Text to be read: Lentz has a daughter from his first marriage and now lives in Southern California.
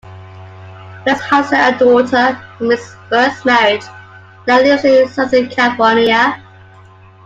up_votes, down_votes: 0, 2